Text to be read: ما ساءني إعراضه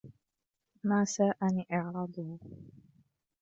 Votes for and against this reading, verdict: 2, 0, accepted